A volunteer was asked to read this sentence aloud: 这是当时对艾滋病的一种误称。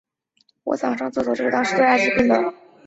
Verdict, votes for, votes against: rejected, 0, 4